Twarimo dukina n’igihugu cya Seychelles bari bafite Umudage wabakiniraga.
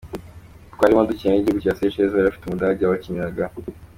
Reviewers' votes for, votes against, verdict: 2, 0, accepted